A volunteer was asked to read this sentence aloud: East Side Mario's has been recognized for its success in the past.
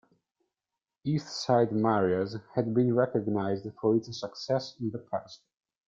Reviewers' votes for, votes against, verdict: 2, 1, accepted